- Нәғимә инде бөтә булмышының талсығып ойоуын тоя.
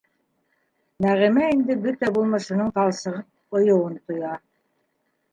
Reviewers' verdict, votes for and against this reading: rejected, 1, 2